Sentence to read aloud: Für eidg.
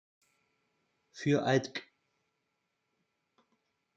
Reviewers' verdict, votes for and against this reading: rejected, 0, 2